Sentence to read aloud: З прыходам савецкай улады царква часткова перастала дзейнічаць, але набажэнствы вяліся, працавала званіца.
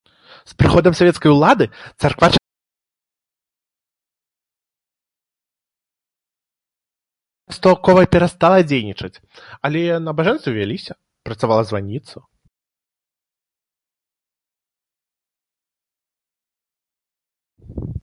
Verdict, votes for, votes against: rejected, 1, 4